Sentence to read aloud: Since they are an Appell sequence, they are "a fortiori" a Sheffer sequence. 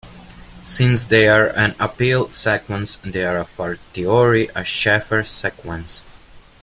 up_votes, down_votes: 0, 2